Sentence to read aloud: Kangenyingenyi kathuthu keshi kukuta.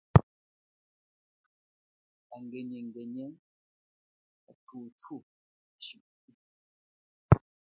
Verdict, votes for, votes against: rejected, 0, 2